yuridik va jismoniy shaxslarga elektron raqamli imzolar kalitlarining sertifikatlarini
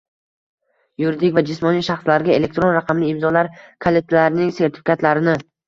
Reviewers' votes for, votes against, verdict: 2, 1, accepted